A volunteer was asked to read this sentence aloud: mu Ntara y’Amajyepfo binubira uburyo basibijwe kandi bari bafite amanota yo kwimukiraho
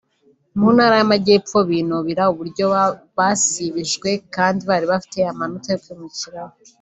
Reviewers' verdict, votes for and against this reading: rejected, 0, 2